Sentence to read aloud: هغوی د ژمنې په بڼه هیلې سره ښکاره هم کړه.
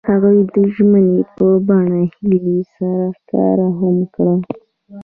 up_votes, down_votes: 1, 2